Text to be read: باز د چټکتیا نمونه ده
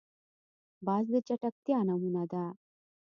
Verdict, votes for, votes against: rejected, 1, 2